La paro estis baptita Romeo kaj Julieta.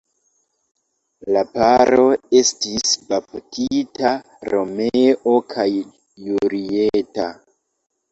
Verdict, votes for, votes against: accepted, 2, 0